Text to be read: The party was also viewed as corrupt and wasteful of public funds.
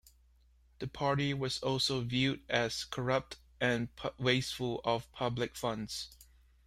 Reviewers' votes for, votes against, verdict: 2, 1, accepted